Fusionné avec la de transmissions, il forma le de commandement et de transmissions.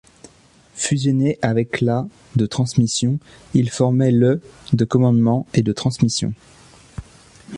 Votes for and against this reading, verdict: 0, 2, rejected